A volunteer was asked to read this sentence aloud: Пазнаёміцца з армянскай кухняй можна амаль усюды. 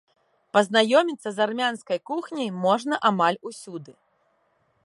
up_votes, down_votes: 2, 0